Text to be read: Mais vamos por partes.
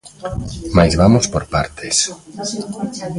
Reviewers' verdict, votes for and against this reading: rejected, 0, 2